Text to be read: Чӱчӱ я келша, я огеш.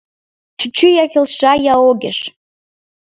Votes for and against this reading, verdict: 2, 3, rejected